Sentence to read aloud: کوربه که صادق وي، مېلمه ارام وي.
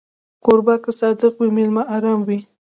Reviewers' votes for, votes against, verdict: 2, 0, accepted